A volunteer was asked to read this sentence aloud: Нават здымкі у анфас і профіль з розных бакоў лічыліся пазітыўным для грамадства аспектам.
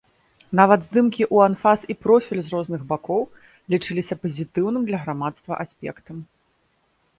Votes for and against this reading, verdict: 3, 0, accepted